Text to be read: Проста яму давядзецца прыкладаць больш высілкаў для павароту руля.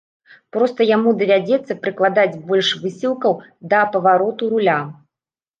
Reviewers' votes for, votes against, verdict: 1, 2, rejected